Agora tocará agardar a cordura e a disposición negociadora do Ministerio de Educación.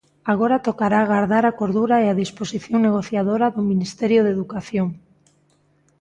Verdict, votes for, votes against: accepted, 2, 0